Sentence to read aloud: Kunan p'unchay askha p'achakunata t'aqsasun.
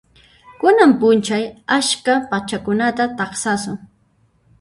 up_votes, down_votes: 0, 2